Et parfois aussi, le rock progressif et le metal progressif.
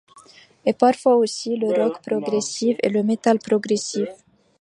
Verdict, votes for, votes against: accepted, 3, 0